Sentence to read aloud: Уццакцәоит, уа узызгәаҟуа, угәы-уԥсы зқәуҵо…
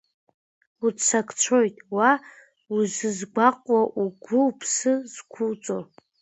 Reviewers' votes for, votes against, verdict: 0, 2, rejected